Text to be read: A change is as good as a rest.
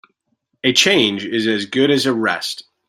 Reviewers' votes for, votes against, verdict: 2, 0, accepted